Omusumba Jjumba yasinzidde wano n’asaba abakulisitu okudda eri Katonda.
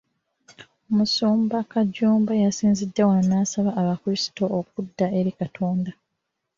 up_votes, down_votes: 0, 2